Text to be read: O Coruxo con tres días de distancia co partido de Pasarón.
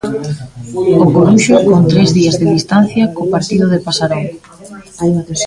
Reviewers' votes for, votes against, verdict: 0, 2, rejected